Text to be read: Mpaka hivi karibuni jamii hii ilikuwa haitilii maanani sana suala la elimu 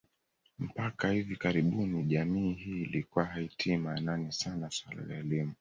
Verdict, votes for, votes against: accepted, 2, 1